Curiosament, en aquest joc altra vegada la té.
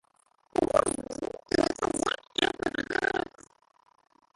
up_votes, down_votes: 0, 2